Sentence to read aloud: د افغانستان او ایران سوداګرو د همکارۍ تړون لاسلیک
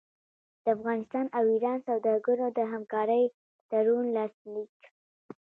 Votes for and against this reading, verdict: 2, 0, accepted